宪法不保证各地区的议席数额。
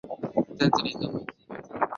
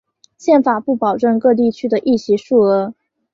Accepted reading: second